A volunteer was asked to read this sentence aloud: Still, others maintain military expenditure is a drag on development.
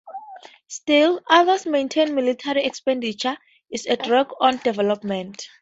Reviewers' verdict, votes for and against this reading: accepted, 2, 0